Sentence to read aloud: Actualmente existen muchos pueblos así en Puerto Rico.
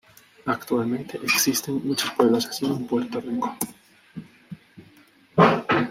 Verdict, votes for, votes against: rejected, 0, 2